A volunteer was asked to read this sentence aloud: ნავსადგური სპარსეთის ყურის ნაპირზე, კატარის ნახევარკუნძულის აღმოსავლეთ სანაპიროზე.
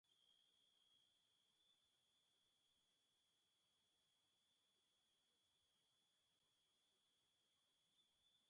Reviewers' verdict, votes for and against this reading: rejected, 1, 2